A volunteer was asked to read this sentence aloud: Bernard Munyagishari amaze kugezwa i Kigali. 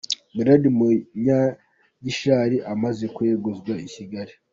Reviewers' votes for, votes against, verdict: 0, 2, rejected